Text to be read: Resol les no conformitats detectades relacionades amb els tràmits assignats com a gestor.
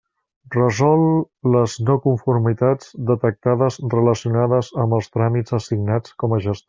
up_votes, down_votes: 1, 2